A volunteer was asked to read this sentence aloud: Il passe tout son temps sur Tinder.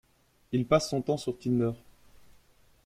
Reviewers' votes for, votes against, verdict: 0, 2, rejected